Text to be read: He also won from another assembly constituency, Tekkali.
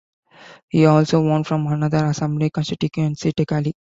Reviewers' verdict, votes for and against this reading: rejected, 1, 2